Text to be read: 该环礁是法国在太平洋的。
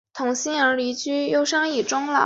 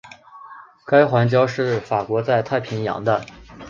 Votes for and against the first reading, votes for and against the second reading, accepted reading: 0, 3, 2, 0, second